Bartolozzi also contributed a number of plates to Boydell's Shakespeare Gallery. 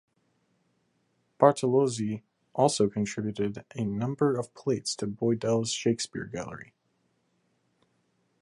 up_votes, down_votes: 3, 0